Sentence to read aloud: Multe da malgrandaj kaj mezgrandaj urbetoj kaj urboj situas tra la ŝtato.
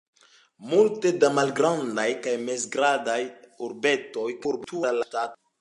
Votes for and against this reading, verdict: 1, 2, rejected